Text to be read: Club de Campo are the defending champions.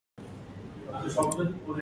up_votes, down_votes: 0, 2